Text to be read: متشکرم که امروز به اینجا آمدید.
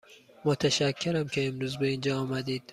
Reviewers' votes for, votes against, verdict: 2, 0, accepted